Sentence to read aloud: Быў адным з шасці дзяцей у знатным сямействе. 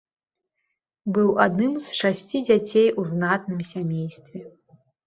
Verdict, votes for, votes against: accepted, 2, 0